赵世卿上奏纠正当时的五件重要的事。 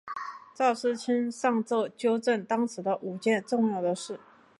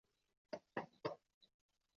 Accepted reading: first